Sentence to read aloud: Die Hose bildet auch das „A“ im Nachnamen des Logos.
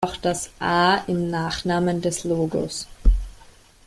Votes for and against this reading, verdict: 0, 2, rejected